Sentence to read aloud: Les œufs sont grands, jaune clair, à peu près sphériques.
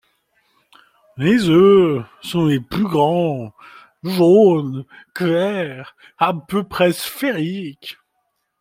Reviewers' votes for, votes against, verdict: 0, 2, rejected